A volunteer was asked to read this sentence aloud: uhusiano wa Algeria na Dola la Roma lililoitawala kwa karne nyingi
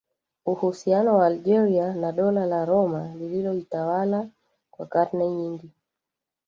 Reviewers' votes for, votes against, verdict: 1, 2, rejected